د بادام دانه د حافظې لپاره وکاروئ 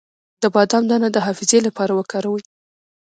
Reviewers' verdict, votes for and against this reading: accepted, 3, 0